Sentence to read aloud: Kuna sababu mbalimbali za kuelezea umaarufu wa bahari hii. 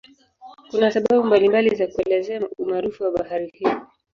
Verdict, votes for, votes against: accepted, 2, 1